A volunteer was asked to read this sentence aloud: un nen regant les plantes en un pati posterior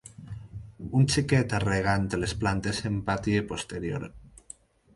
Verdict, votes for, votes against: rejected, 2, 4